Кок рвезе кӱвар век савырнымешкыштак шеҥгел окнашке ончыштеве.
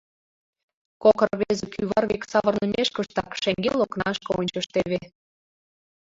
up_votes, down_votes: 1, 2